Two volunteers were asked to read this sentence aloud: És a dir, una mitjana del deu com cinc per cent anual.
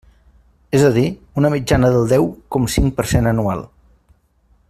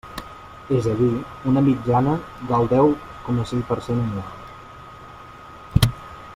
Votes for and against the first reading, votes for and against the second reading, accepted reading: 3, 0, 1, 2, first